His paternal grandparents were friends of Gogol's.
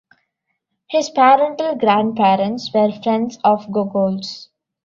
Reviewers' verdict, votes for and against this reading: rejected, 0, 2